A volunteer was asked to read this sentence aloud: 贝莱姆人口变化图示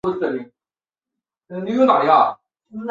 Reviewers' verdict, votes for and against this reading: rejected, 0, 3